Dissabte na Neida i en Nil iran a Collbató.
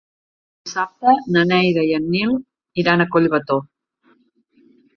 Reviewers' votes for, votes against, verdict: 1, 2, rejected